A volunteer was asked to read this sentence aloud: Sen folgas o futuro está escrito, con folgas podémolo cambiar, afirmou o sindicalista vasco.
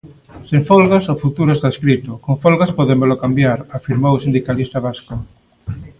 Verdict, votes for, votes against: accepted, 2, 0